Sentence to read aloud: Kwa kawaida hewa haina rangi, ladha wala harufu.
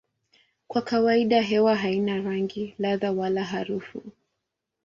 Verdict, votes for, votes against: accepted, 2, 0